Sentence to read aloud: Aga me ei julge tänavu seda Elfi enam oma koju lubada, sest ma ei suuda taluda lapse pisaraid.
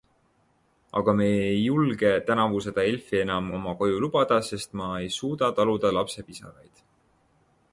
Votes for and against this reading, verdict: 1, 2, rejected